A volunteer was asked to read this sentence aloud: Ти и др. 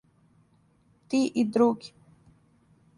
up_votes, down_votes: 1, 2